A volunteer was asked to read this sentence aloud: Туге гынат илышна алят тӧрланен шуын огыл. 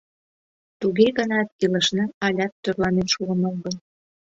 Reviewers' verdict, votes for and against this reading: accepted, 2, 0